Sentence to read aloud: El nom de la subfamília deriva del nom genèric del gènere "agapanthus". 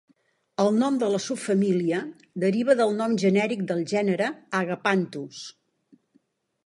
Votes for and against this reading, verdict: 2, 0, accepted